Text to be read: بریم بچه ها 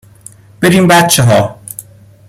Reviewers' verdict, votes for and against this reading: accepted, 2, 0